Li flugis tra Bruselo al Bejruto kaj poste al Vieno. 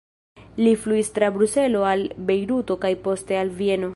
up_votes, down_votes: 0, 2